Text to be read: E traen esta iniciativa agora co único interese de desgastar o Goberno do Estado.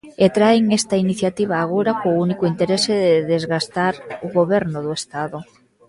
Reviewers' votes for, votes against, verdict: 0, 2, rejected